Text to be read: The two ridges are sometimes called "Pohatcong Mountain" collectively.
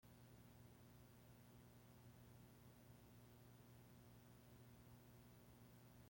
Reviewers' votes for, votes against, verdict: 0, 2, rejected